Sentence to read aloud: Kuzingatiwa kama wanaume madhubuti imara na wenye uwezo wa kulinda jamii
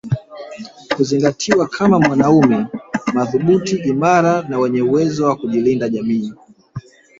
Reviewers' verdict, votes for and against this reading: rejected, 1, 2